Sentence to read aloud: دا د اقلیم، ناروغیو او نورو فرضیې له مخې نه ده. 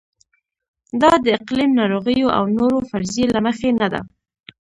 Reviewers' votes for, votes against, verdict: 1, 2, rejected